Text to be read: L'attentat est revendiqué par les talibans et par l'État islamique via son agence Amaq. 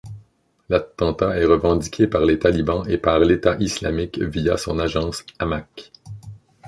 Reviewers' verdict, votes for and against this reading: rejected, 0, 2